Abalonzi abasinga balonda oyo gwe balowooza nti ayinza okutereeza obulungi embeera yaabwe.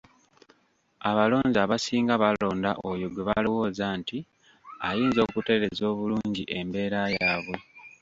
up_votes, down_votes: 2, 1